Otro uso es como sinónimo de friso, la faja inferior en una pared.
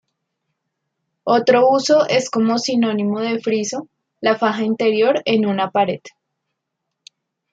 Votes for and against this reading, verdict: 1, 2, rejected